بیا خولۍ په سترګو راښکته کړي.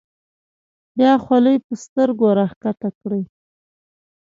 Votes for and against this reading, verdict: 4, 0, accepted